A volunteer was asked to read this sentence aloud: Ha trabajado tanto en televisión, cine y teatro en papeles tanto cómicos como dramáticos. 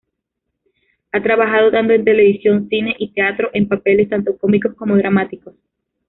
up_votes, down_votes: 0, 2